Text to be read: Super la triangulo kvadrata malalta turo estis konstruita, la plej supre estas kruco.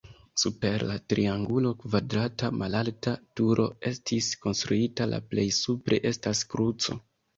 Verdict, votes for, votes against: accepted, 2, 0